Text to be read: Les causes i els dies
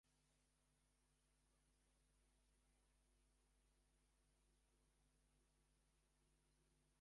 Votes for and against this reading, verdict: 0, 3, rejected